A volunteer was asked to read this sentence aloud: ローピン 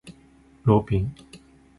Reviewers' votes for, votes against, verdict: 3, 0, accepted